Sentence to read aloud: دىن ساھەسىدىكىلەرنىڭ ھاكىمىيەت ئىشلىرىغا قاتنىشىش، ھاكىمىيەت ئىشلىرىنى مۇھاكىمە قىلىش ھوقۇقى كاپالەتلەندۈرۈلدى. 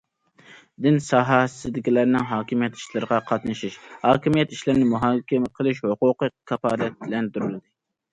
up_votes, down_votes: 2, 0